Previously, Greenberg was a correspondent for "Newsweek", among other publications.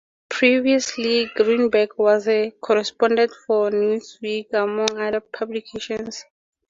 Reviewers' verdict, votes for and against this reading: accepted, 2, 0